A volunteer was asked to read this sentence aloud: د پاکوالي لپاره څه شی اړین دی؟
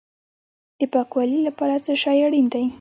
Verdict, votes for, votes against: rejected, 1, 2